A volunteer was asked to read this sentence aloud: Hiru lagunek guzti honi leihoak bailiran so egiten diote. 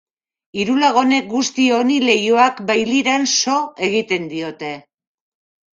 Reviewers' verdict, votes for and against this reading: accepted, 2, 0